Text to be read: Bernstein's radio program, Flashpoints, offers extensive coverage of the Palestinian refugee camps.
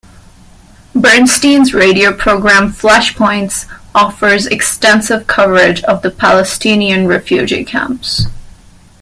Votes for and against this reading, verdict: 0, 2, rejected